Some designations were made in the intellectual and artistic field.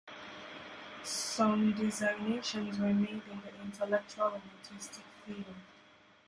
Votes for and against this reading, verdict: 0, 2, rejected